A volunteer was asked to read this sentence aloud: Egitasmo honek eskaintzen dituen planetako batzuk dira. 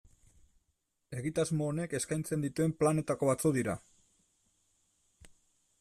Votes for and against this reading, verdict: 2, 0, accepted